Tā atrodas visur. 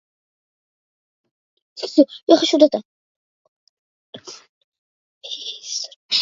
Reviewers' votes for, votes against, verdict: 0, 2, rejected